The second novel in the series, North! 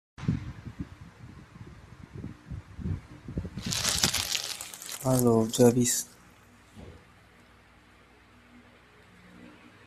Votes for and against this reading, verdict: 0, 2, rejected